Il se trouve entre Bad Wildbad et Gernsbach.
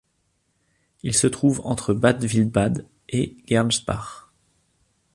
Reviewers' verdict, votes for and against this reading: accepted, 2, 0